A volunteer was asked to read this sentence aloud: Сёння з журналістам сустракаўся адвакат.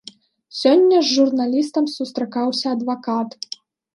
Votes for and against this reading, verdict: 2, 0, accepted